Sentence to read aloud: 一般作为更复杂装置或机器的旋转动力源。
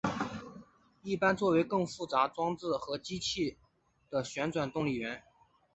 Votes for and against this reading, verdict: 2, 0, accepted